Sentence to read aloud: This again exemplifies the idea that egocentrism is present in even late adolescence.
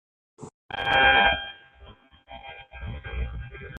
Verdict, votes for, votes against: rejected, 0, 2